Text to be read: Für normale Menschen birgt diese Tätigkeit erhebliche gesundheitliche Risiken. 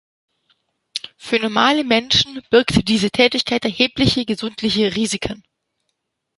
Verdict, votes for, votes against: rejected, 0, 2